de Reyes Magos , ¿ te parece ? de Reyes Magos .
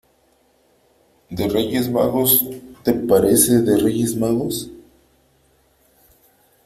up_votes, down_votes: 3, 1